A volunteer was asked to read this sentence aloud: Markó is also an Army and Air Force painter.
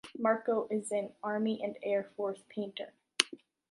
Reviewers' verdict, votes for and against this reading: rejected, 2, 3